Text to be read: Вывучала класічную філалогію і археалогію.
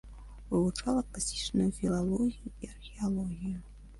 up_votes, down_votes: 2, 1